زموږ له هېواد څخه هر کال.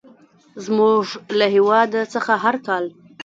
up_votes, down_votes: 1, 2